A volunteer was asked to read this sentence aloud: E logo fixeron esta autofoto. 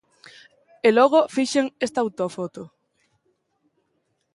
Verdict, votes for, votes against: rejected, 1, 2